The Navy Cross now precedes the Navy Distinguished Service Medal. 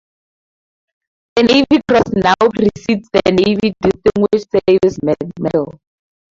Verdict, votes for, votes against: rejected, 0, 2